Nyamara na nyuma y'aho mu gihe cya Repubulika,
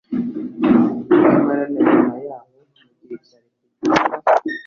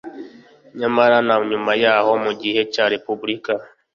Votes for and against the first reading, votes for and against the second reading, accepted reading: 1, 2, 2, 0, second